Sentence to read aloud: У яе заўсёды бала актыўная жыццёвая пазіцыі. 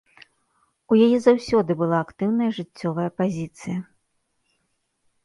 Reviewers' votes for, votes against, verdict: 2, 0, accepted